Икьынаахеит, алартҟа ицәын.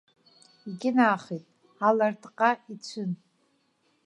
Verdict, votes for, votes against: rejected, 2, 3